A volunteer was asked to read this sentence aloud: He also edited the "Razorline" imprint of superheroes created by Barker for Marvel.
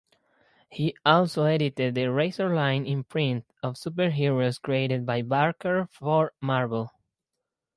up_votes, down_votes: 2, 0